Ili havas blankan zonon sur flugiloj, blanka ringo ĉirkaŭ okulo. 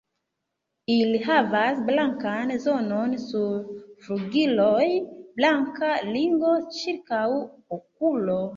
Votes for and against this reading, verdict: 1, 2, rejected